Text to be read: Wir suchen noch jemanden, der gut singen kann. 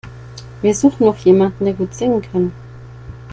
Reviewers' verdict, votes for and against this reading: accepted, 2, 0